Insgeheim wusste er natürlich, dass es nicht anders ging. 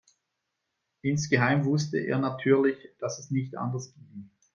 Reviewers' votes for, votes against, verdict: 2, 0, accepted